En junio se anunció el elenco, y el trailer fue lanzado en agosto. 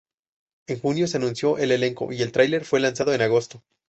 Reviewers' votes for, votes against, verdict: 0, 2, rejected